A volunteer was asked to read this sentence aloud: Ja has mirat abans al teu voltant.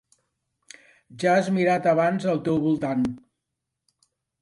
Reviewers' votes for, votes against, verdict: 3, 0, accepted